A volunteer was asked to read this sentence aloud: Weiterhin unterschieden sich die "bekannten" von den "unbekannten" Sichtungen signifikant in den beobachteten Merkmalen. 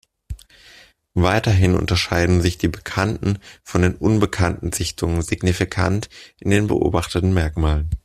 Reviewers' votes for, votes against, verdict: 0, 2, rejected